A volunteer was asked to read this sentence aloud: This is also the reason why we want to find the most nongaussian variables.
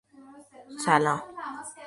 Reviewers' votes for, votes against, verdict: 0, 2, rejected